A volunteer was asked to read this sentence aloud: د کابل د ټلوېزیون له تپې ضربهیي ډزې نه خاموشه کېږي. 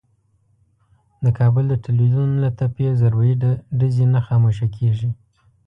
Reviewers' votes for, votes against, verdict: 1, 2, rejected